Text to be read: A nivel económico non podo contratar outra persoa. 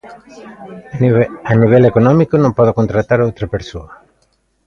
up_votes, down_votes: 0, 2